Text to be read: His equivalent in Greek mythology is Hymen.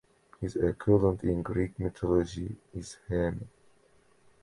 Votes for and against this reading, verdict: 2, 1, accepted